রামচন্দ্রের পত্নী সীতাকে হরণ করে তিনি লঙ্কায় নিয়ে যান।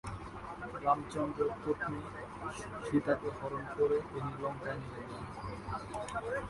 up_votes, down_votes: 5, 8